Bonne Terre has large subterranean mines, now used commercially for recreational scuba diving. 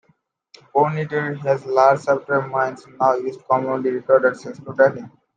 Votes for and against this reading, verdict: 0, 2, rejected